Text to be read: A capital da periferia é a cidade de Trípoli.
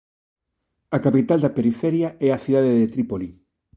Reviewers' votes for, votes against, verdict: 2, 0, accepted